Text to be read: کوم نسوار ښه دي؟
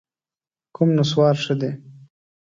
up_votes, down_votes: 2, 0